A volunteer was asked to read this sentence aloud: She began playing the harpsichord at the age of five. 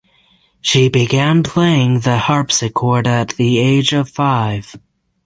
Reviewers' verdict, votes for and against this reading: accepted, 6, 0